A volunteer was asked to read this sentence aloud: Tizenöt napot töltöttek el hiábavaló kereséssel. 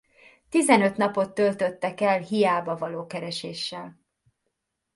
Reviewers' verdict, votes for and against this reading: accepted, 2, 0